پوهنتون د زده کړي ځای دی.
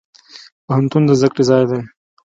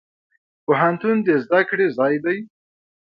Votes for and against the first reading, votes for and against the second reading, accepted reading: 2, 0, 1, 2, first